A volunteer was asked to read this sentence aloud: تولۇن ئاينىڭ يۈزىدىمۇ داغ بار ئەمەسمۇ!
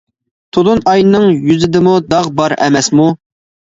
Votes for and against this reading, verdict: 2, 0, accepted